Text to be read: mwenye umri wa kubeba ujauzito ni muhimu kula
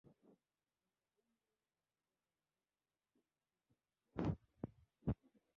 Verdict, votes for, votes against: rejected, 0, 2